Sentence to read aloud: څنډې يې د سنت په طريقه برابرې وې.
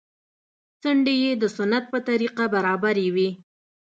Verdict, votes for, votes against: accepted, 2, 0